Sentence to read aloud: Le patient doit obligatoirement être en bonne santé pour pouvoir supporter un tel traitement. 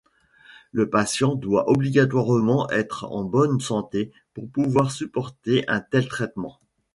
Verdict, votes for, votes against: accepted, 2, 0